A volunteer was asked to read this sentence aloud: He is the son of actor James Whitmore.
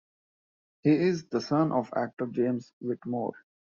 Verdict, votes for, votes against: accepted, 2, 0